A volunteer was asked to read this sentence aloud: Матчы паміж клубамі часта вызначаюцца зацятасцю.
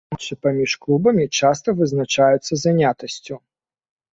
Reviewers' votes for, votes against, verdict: 0, 2, rejected